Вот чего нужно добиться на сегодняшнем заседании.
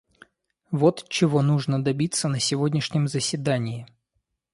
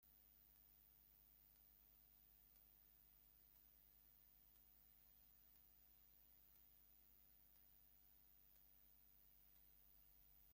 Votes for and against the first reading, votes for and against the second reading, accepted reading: 2, 0, 0, 2, first